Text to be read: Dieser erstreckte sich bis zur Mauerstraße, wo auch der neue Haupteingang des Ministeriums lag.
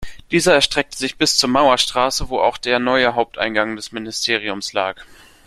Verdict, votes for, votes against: accepted, 2, 0